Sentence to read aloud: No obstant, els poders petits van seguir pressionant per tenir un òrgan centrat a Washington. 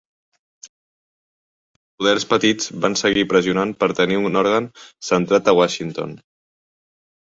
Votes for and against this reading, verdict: 0, 2, rejected